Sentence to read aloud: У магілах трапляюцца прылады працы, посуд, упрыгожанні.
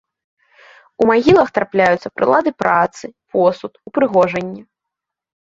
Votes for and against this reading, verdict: 2, 0, accepted